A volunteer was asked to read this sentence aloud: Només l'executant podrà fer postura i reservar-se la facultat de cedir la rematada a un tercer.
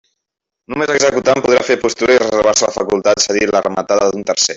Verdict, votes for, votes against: rejected, 0, 2